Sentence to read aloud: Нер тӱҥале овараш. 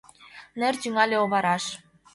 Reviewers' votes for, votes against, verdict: 2, 0, accepted